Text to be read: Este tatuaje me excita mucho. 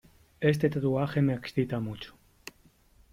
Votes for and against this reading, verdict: 3, 0, accepted